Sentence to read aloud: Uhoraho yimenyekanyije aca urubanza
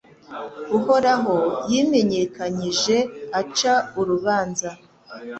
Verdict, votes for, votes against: accepted, 2, 0